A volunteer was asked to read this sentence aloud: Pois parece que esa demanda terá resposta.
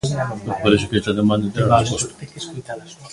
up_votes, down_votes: 0, 2